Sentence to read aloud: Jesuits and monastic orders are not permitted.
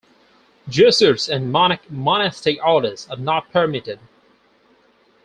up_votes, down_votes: 0, 4